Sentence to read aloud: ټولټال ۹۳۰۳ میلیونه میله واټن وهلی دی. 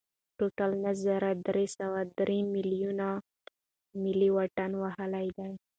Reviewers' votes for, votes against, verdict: 0, 2, rejected